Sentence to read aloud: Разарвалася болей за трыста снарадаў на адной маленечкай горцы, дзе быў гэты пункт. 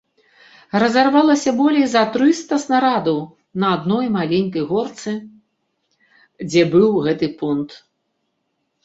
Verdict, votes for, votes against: rejected, 1, 2